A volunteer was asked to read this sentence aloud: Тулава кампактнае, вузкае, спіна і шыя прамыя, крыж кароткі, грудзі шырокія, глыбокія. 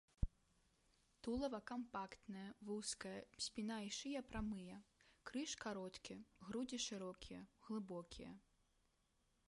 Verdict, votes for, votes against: rejected, 1, 2